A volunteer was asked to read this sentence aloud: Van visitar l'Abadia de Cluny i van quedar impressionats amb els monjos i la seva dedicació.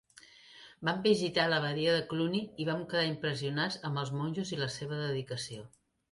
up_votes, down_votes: 2, 0